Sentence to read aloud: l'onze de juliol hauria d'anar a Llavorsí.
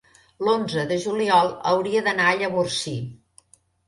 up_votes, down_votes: 3, 0